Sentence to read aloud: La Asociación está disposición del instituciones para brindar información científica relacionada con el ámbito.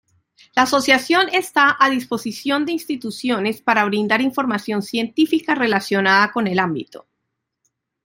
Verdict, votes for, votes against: rejected, 1, 2